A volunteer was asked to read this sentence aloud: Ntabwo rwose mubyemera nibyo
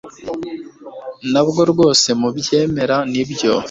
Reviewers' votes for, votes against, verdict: 2, 0, accepted